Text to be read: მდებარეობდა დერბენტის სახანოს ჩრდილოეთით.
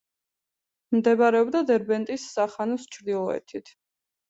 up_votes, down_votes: 2, 0